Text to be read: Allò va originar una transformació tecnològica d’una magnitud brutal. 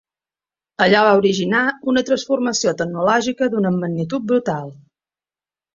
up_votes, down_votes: 2, 1